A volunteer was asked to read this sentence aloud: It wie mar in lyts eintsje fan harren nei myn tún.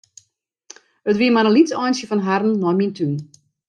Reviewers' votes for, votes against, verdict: 2, 0, accepted